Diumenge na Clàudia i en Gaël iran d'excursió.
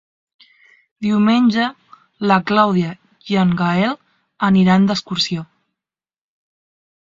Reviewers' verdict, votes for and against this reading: rejected, 0, 2